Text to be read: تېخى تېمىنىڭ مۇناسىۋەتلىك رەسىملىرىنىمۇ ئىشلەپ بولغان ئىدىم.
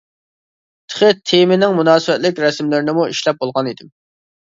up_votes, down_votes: 1, 2